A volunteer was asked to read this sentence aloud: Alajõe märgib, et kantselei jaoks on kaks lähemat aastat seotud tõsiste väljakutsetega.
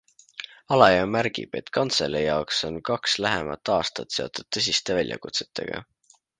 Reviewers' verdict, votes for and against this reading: accepted, 2, 0